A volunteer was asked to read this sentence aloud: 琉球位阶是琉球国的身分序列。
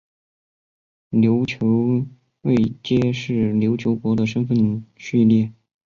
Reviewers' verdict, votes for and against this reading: accepted, 3, 0